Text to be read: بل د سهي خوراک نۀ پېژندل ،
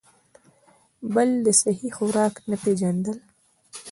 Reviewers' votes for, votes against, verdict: 0, 2, rejected